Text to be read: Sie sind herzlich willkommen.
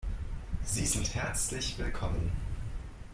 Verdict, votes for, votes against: rejected, 0, 2